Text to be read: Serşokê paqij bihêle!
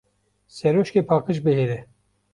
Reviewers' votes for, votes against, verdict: 0, 2, rejected